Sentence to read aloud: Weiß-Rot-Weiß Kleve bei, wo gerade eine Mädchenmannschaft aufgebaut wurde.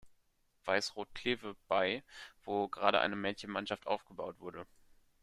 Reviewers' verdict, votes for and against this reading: rejected, 1, 2